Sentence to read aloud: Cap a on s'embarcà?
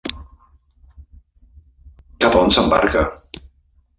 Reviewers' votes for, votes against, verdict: 0, 2, rejected